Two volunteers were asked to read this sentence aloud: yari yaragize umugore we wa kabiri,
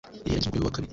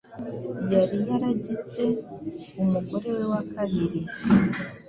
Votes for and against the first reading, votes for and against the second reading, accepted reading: 2, 3, 2, 0, second